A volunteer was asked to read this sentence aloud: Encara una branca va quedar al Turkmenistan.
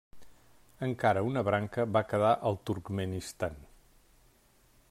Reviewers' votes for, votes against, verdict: 3, 0, accepted